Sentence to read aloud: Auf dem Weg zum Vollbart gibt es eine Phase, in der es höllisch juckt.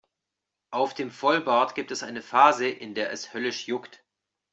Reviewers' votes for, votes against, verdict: 1, 2, rejected